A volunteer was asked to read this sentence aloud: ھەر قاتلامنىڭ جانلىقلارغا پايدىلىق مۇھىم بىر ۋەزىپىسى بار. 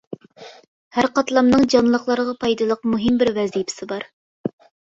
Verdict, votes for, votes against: accepted, 2, 0